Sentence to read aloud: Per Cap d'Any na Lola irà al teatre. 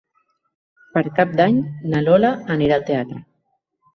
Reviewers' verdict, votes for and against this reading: rejected, 1, 2